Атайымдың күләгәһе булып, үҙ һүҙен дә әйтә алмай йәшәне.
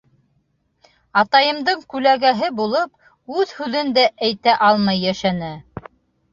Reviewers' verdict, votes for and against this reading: accepted, 2, 0